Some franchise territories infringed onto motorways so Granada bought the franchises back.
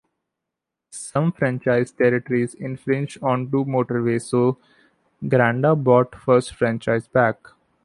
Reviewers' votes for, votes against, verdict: 1, 2, rejected